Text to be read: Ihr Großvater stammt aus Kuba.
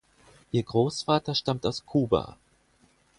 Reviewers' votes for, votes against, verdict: 4, 0, accepted